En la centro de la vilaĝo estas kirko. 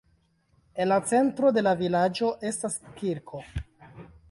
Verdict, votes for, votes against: rejected, 0, 2